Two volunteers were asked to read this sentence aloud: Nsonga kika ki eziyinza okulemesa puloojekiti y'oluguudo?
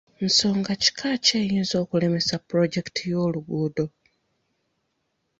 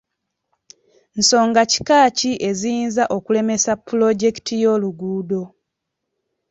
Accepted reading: second